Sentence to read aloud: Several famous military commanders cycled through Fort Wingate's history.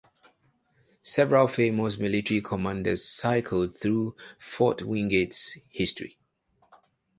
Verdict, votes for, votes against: accepted, 2, 0